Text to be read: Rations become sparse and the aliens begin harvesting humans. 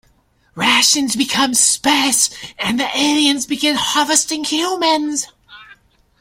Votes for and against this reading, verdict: 2, 0, accepted